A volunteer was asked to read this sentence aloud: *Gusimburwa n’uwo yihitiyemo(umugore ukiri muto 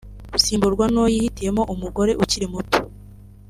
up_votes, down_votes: 2, 0